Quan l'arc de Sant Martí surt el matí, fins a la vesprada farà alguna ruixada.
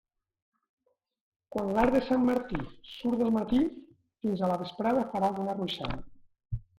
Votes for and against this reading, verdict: 1, 2, rejected